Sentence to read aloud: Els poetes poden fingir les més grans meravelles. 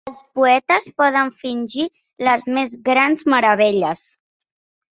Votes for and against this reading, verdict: 4, 0, accepted